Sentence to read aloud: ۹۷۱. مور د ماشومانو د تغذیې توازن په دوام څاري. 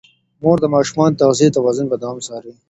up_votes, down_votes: 0, 2